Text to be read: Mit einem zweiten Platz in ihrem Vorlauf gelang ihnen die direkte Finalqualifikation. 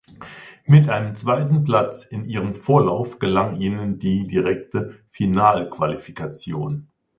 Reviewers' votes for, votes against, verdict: 2, 0, accepted